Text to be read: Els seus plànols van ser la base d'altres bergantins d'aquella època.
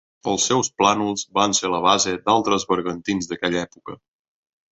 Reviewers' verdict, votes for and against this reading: accepted, 3, 1